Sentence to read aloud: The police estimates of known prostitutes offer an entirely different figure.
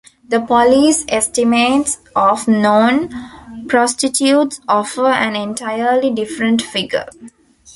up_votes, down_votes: 2, 0